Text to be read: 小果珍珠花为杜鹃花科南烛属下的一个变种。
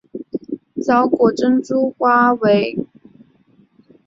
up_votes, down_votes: 1, 4